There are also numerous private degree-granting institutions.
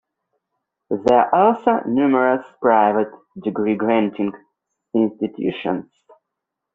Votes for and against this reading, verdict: 1, 2, rejected